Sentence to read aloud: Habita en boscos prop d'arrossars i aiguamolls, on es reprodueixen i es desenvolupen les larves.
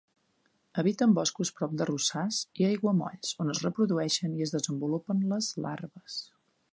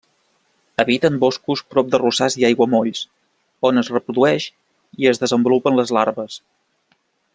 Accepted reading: first